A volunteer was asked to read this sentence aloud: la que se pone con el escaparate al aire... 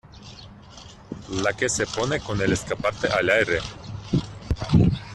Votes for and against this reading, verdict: 0, 2, rejected